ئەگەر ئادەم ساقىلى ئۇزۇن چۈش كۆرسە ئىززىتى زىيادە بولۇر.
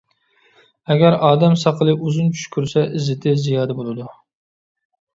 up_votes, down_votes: 1, 2